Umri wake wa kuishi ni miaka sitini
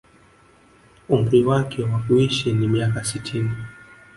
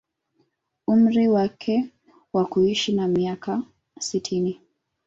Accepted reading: first